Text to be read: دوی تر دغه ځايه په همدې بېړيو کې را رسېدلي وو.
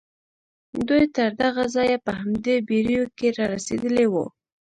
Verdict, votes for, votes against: accepted, 2, 0